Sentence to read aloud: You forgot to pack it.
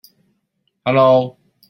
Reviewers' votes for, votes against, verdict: 0, 2, rejected